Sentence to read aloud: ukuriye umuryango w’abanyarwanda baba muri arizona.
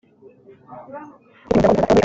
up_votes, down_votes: 0, 3